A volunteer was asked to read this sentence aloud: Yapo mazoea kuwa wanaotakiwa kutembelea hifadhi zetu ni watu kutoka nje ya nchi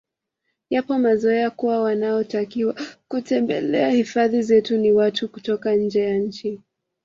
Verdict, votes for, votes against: accepted, 2, 1